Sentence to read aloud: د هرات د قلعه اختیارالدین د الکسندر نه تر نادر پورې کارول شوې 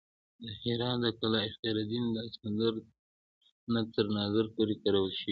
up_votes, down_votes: 2, 1